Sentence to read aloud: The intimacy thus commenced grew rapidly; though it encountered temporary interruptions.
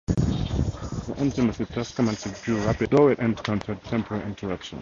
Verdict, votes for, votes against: accepted, 4, 0